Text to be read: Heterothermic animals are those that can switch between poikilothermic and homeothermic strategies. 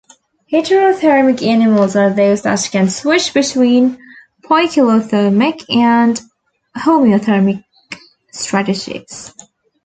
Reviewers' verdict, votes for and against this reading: accepted, 2, 0